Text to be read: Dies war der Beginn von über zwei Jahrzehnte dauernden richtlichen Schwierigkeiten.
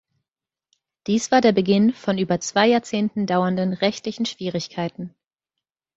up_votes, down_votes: 0, 3